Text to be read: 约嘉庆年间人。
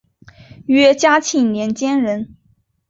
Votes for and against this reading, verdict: 2, 0, accepted